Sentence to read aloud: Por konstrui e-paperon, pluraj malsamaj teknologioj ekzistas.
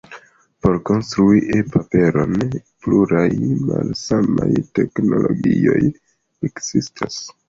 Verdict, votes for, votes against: accepted, 2, 0